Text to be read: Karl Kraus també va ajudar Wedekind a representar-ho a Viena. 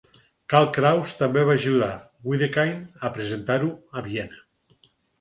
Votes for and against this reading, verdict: 4, 0, accepted